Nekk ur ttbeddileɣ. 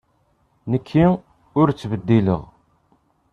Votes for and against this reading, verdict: 2, 0, accepted